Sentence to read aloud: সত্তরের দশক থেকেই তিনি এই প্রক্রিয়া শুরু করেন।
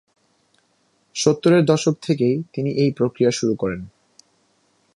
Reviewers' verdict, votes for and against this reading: accepted, 2, 0